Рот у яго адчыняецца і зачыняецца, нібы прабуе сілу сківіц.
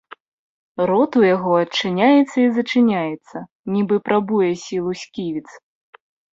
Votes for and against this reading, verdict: 2, 0, accepted